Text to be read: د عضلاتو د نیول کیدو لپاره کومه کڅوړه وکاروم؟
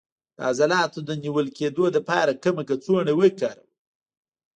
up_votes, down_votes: 2, 1